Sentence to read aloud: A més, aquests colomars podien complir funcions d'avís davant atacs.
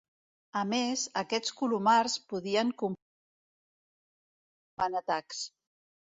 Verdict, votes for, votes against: rejected, 1, 2